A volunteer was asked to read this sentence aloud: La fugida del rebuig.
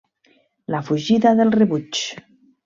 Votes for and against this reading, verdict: 2, 0, accepted